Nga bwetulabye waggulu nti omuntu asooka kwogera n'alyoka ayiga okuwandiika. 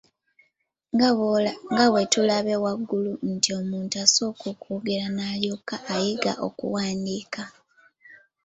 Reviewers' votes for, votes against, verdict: 2, 1, accepted